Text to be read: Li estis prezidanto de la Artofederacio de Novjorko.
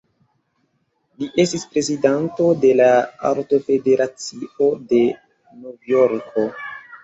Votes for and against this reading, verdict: 2, 0, accepted